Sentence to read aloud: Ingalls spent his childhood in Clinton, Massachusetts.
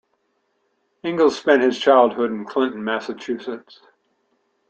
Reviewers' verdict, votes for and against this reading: accepted, 2, 0